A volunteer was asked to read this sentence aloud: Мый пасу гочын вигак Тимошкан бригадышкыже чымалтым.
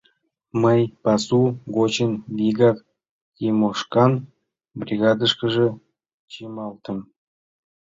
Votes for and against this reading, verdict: 2, 0, accepted